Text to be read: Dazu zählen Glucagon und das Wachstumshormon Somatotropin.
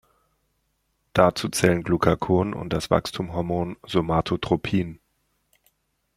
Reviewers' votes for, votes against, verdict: 1, 2, rejected